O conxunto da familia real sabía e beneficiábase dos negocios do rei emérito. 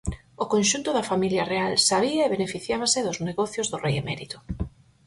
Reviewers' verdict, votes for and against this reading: accepted, 4, 0